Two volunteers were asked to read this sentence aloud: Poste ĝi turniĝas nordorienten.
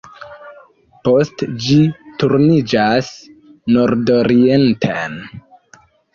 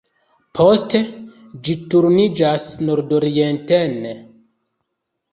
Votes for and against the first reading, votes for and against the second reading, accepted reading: 2, 0, 0, 2, first